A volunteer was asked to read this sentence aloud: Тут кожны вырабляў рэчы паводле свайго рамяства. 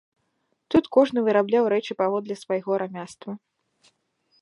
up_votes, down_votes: 1, 3